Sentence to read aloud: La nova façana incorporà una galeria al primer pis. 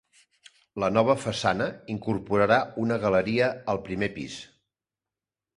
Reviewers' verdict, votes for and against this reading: rejected, 1, 2